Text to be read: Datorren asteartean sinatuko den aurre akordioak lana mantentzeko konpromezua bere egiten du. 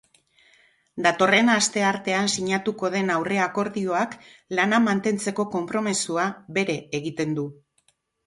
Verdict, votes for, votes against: accepted, 4, 0